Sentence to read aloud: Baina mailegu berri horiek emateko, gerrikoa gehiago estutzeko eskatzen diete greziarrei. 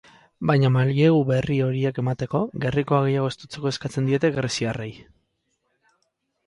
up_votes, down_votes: 2, 0